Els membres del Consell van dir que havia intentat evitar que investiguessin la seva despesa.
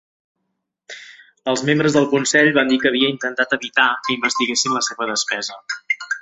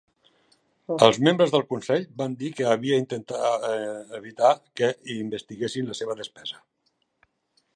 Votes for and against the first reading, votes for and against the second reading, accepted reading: 2, 1, 0, 2, first